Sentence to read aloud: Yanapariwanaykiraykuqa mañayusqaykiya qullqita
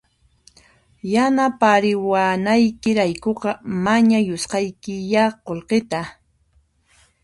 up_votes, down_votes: 2, 0